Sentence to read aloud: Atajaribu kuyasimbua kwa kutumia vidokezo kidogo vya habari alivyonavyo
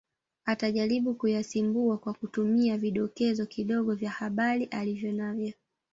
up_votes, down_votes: 1, 2